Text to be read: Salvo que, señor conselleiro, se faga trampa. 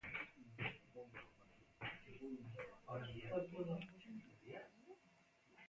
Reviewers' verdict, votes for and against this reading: rejected, 0, 2